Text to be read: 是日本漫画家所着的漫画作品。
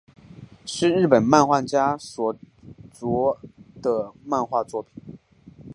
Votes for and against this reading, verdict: 4, 0, accepted